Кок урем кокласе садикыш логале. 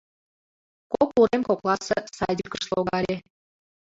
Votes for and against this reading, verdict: 0, 2, rejected